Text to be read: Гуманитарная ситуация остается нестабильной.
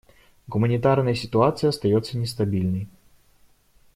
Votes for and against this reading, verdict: 2, 0, accepted